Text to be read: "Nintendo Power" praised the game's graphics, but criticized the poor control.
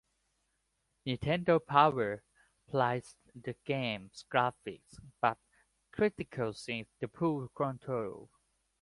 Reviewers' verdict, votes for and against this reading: rejected, 1, 2